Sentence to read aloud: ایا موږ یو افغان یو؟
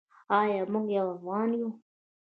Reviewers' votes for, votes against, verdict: 0, 2, rejected